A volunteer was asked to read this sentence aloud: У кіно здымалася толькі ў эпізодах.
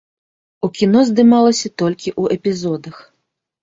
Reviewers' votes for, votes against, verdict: 1, 2, rejected